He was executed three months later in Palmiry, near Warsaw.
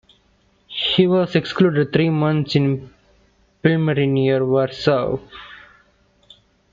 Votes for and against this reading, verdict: 0, 3, rejected